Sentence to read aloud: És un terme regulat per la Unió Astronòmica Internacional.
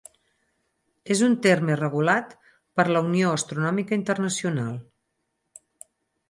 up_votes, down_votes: 4, 0